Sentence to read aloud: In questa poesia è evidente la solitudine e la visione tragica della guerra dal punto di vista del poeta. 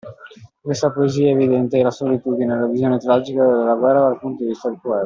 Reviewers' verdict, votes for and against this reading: rejected, 0, 2